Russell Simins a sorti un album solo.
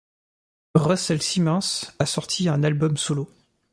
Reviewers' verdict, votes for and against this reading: rejected, 1, 2